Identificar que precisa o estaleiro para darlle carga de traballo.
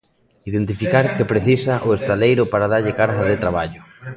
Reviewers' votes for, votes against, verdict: 0, 2, rejected